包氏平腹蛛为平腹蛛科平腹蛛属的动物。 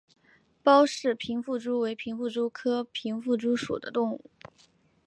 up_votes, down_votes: 2, 0